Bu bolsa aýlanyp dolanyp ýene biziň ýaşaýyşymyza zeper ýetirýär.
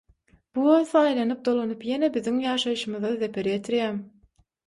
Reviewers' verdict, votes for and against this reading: accepted, 6, 0